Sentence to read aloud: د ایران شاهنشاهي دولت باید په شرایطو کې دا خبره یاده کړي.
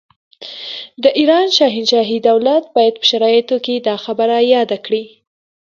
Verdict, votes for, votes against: accepted, 2, 0